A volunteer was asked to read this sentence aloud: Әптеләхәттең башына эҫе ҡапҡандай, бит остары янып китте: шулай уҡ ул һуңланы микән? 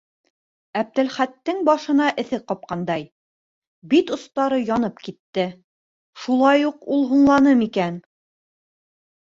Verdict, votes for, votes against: rejected, 1, 2